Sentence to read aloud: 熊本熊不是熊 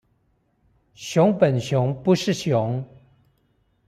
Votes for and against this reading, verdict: 2, 0, accepted